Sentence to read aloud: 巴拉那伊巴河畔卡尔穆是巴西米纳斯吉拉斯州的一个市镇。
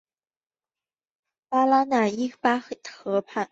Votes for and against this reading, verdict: 0, 2, rejected